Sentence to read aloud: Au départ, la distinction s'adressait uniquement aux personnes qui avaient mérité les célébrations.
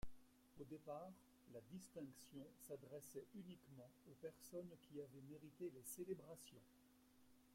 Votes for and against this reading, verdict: 0, 2, rejected